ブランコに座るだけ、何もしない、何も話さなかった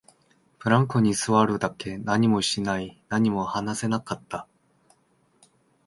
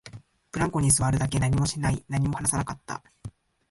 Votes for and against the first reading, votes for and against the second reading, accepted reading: 0, 2, 4, 2, second